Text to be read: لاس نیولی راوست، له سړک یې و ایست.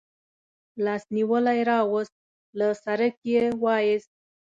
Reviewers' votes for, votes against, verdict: 2, 0, accepted